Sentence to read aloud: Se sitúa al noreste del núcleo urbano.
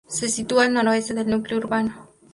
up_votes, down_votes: 0, 2